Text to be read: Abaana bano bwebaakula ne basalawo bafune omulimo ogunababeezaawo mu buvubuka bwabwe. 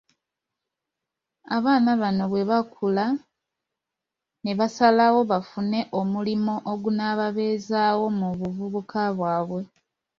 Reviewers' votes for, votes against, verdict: 0, 2, rejected